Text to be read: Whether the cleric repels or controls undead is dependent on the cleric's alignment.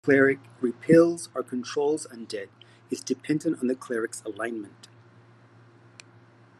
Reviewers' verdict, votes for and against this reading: rejected, 1, 2